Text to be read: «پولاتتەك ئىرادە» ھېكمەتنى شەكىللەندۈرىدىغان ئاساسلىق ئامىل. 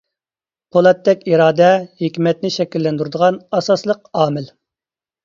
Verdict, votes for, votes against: accepted, 2, 0